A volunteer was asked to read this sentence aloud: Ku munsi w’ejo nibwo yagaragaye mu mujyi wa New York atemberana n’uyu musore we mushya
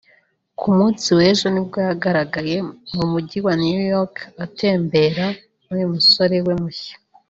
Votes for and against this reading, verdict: 0, 2, rejected